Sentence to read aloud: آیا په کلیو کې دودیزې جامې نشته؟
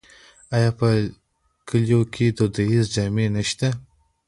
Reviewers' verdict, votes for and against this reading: accepted, 2, 0